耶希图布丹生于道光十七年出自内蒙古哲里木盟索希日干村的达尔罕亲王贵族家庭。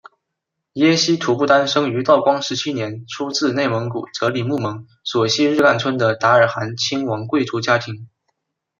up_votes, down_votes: 2, 0